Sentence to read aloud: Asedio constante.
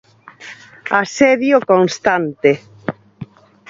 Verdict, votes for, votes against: accepted, 4, 0